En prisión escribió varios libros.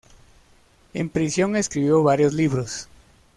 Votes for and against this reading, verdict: 2, 0, accepted